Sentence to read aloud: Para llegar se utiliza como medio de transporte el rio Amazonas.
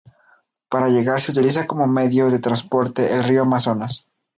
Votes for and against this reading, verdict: 2, 0, accepted